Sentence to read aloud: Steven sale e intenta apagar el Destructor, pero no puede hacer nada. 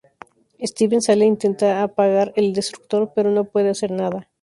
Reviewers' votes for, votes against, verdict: 0, 2, rejected